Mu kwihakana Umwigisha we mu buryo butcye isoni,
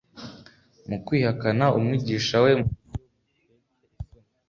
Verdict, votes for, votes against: accepted, 2, 0